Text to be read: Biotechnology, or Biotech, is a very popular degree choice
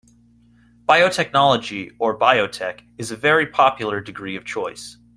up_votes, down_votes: 0, 2